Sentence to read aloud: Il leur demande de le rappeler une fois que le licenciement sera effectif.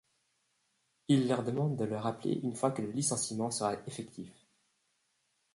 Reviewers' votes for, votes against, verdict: 1, 2, rejected